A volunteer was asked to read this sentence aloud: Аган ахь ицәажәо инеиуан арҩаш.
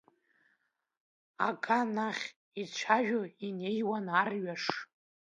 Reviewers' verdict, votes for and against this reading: rejected, 0, 2